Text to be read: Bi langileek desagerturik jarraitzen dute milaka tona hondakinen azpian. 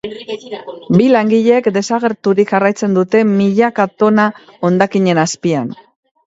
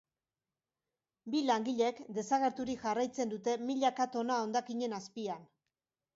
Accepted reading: second